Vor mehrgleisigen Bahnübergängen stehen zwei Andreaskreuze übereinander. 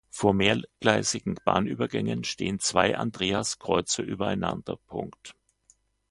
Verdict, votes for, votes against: rejected, 0, 2